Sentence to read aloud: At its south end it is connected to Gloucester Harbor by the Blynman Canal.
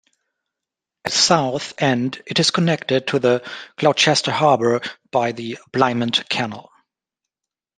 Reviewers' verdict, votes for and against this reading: rejected, 0, 2